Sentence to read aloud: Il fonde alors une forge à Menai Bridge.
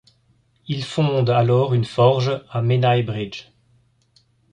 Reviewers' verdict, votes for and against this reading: accepted, 3, 0